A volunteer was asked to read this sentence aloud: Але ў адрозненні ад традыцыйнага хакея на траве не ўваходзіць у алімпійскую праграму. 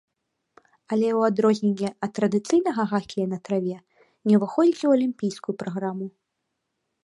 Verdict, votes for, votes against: accepted, 2, 0